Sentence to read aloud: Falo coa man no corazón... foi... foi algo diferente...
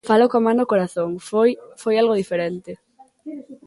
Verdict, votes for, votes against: rejected, 1, 2